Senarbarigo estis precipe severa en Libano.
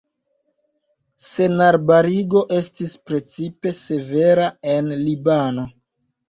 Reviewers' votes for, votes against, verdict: 1, 2, rejected